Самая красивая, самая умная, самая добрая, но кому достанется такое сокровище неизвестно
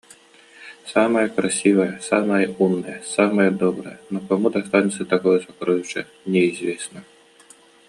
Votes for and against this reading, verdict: 2, 0, accepted